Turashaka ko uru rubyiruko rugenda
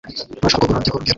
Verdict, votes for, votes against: rejected, 0, 2